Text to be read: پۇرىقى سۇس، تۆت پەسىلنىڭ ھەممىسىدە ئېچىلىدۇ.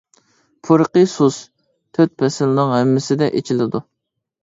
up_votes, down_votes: 3, 0